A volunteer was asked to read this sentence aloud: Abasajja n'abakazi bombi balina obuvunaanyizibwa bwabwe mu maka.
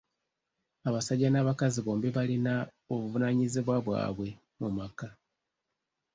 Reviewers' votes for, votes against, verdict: 2, 0, accepted